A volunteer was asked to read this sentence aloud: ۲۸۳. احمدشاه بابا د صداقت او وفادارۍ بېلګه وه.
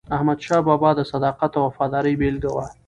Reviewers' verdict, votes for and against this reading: rejected, 0, 2